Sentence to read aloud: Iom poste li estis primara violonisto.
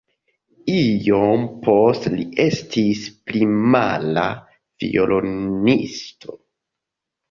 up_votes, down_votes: 1, 2